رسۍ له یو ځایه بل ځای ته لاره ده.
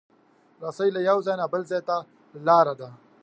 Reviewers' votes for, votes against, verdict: 2, 0, accepted